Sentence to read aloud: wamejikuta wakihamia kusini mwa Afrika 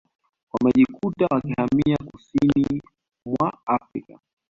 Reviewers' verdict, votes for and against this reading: accepted, 2, 0